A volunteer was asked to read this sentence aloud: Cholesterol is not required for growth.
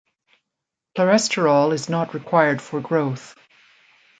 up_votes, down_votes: 1, 2